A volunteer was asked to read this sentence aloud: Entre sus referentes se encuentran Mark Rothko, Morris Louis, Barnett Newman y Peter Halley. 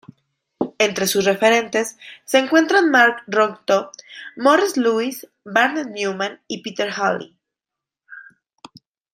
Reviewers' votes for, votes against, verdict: 1, 2, rejected